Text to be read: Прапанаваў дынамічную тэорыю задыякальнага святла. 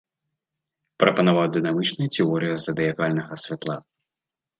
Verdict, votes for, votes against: rejected, 1, 2